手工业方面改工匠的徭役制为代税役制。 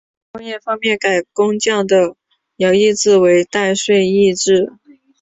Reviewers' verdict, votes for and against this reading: rejected, 1, 2